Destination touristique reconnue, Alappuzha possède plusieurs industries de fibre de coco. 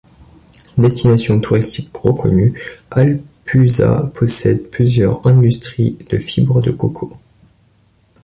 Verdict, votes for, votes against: rejected, 0, 2